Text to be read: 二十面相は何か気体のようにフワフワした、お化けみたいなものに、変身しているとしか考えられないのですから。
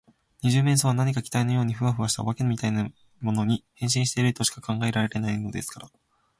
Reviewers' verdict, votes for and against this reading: rejected, 0, 2